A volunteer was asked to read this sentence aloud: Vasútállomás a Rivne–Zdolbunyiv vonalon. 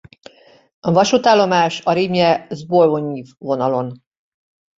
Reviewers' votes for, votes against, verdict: 0, 2, rejected